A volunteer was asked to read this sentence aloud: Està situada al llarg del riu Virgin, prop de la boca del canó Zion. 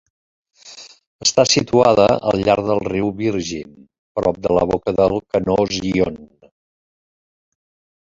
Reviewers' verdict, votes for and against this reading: rejected, 0, 2